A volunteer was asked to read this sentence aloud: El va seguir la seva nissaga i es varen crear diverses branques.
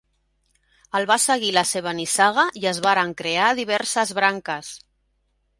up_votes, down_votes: 3, 0